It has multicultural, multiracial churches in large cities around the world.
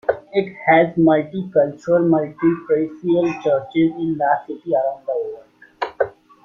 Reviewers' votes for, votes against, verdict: 0, 2, rejected